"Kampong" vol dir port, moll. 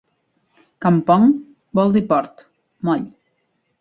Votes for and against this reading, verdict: 2, 0, accepted